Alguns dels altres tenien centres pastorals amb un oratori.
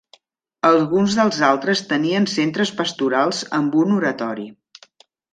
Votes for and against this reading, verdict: 3, 0, accepted